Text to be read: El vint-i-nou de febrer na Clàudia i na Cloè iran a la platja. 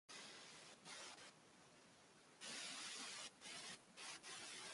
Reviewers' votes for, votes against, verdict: 0, 2, rejected